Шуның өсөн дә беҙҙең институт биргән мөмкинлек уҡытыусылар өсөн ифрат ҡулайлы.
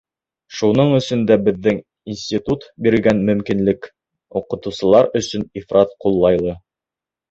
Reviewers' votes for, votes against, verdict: 2, 1, accepted